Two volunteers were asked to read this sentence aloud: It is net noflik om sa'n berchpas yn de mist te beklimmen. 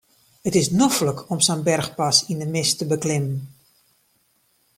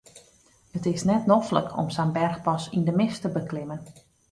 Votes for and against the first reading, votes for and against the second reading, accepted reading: 1, 2, 3, 0, second